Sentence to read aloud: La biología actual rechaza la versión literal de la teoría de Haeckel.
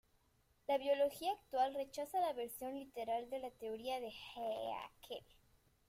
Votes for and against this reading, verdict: 2, 1, accepted